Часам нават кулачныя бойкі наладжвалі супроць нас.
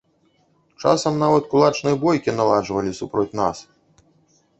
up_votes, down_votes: 2, 0